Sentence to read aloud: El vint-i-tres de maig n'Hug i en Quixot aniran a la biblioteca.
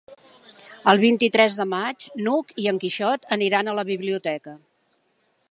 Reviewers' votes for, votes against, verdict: 2, 0, accepted